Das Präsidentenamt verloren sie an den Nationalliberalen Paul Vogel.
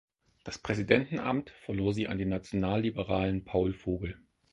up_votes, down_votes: 2, 4